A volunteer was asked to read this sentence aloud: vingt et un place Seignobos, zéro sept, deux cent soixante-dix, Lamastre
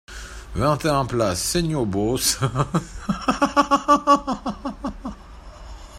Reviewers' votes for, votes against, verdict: 0, 2, rejected